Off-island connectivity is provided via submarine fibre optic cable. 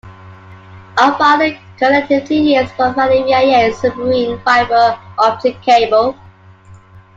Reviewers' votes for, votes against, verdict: 1, 2, rejected